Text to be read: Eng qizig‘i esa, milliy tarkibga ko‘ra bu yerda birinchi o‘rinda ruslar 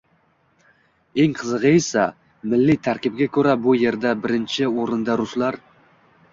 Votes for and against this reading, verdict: 2, 1, accepted